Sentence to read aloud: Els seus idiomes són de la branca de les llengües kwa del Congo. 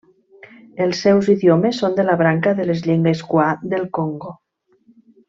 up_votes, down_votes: 2, 0